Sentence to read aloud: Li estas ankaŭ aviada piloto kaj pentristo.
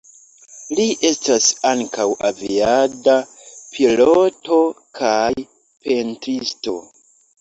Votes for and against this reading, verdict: 2, 1, accepted